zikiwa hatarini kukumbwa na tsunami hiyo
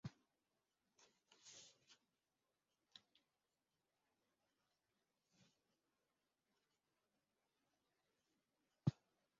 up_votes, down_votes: 0, 2